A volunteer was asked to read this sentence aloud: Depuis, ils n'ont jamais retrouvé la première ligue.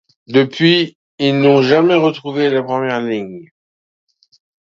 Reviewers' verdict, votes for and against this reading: rejected, 1, 2